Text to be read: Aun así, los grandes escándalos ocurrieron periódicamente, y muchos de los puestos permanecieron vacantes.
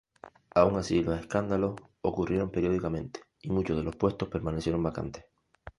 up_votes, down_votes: 0, 2